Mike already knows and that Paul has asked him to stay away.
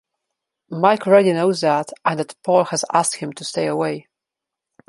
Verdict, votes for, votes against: rejected, 1, 2